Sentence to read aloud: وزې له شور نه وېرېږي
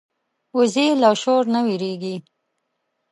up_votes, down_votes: 2, 0